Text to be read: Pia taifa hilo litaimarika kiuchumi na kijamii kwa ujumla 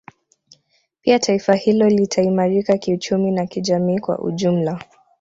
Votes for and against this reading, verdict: 2, 0, accepted